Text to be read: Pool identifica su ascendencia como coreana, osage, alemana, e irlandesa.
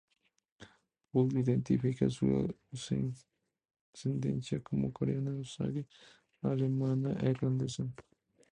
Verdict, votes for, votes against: rejected, 0, 2